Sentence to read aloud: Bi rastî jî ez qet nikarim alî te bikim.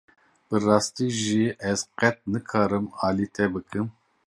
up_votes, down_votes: 1, 2